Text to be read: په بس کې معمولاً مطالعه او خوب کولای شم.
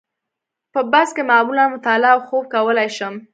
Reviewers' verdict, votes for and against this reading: rejected, 1, 2